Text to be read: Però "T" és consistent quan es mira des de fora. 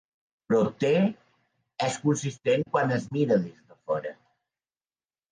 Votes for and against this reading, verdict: 0, 2, rejected